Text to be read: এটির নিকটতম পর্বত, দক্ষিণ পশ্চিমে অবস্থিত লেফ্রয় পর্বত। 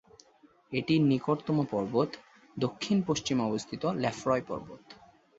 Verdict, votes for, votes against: accepted, 6, 0